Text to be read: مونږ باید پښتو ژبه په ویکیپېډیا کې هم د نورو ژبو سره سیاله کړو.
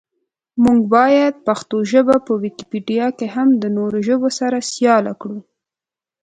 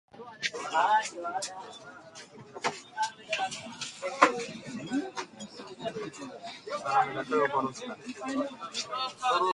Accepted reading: first